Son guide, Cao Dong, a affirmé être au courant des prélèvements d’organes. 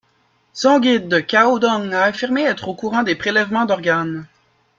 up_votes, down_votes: 1, 2